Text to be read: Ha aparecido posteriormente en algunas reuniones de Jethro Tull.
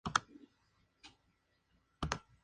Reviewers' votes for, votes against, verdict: 0, 2, rejected